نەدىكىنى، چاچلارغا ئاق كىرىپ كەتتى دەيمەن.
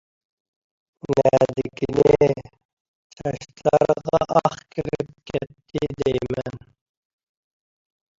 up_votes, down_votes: 0, 2